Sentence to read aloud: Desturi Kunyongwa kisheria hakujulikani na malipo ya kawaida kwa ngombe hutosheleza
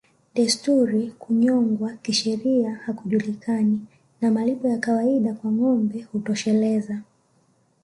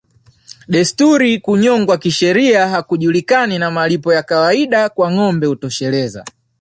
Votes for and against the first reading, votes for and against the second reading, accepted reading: 1, 2, 2, 0, second